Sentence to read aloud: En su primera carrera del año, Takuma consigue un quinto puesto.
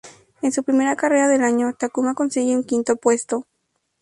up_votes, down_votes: 0, 2